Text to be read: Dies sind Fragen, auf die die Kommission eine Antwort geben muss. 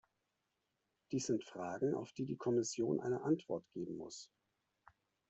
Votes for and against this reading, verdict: 2, 1, accepted